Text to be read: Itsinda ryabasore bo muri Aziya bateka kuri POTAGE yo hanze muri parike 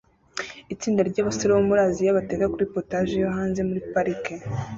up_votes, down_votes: 2, 0